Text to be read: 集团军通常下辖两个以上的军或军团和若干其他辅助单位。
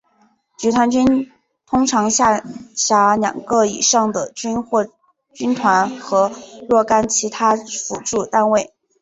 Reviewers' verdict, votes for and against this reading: accepted, 2, 0